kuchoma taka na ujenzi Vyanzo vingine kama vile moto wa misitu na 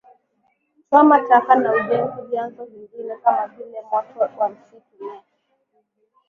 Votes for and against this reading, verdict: 8, 5, accepted